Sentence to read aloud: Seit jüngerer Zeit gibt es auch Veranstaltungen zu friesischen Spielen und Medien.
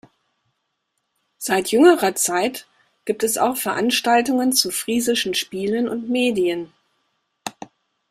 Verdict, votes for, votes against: accepted, 2, 0